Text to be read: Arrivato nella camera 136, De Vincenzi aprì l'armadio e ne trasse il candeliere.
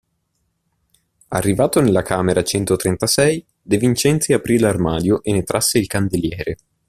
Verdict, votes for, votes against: rejected, 0, 2